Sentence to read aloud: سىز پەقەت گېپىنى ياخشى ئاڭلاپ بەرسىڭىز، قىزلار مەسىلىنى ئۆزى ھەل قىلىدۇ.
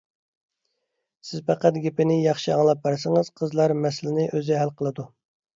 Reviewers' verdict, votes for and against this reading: accepted, 2, 0